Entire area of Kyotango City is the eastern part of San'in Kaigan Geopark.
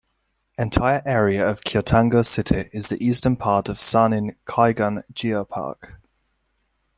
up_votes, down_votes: 0, 2